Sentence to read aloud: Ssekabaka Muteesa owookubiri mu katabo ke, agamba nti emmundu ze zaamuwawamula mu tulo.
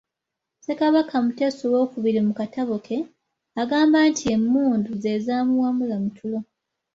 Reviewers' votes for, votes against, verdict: 3, 0, accepted